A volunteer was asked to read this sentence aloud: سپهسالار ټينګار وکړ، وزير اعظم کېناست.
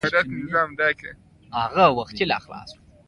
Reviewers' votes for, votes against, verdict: 1, 2, rejected